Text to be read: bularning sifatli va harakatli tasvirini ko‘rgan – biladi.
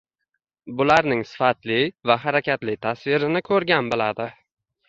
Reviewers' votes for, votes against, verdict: 1, 2, rejected